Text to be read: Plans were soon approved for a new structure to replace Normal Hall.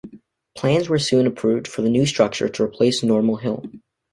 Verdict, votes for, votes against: rejected, 1, 2